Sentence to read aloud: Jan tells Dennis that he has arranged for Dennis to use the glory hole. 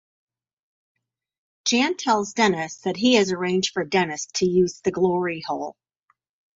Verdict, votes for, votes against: accepted, 6, 0